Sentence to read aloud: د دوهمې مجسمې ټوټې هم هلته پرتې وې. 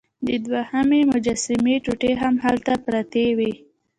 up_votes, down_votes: 2, 0